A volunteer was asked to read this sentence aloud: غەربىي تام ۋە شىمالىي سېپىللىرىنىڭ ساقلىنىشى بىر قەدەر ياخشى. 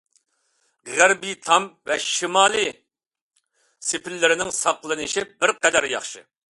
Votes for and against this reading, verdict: 2, 0, accepted